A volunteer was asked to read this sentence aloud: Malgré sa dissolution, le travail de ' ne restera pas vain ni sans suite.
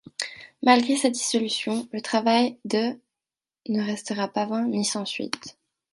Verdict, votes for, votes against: accepted, 2, 0